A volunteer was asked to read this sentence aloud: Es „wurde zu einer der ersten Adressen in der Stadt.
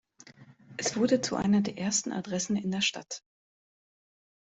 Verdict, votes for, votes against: accepted, 2, 0